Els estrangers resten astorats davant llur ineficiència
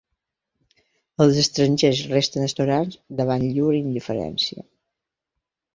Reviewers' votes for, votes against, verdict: 0, 2, rejected